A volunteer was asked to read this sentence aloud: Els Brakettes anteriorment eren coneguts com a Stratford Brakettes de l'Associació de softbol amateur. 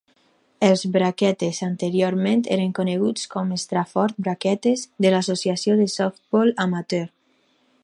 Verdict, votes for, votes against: accepted, 4, 0